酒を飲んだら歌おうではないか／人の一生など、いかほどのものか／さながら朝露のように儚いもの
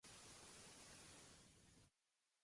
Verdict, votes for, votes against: rejected, 1, 2